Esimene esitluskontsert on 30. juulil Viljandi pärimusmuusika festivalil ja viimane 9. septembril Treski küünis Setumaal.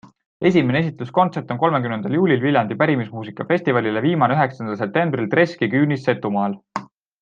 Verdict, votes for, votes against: rejected, 0, 2